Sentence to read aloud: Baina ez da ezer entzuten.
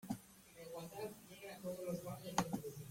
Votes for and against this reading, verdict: 1, 2, rejected